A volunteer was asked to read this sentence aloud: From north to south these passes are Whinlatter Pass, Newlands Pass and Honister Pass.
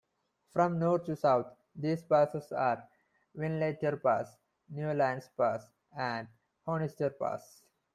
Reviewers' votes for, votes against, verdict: 1, 2, rejected